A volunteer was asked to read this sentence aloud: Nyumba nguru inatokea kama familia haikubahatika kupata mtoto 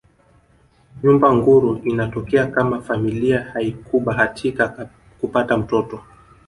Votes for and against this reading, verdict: 2, 0, accepted